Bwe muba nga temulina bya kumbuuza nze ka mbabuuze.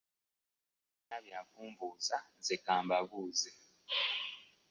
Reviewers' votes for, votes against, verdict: 1, 2, rejected